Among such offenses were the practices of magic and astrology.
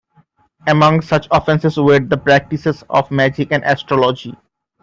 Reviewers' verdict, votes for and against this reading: accepted, 2, 0